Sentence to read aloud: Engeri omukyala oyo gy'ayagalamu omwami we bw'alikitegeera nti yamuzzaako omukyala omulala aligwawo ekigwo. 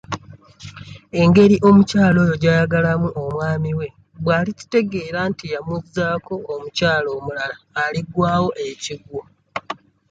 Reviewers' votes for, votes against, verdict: 2, 0, accepted